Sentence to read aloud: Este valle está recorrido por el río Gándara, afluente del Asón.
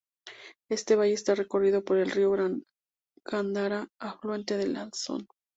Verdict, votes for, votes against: rejected, 0, 2